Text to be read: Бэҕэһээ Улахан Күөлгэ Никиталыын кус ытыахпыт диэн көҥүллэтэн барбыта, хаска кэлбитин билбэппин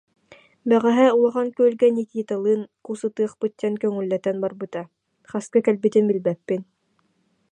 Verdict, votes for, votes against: accepted, 2, 0